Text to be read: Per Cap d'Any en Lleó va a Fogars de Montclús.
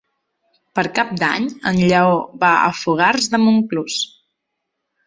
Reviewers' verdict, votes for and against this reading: accepted, 3, 0